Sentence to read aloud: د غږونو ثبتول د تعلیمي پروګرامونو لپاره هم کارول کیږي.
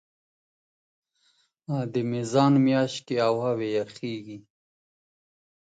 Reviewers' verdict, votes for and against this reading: rejected, 1, 2